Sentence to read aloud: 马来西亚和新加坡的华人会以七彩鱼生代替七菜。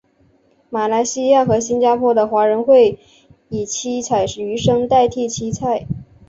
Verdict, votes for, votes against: accepted, 2, 0